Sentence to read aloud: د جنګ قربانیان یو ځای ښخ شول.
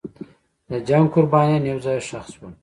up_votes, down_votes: 1, 2